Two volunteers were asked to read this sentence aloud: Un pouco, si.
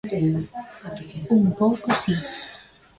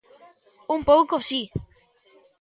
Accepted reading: second